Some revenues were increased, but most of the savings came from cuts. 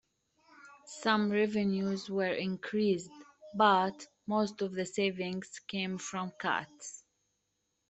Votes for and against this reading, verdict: 0, 2, rejected